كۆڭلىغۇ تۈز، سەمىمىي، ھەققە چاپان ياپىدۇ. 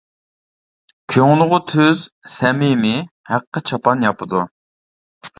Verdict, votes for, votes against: accepted, 2, 0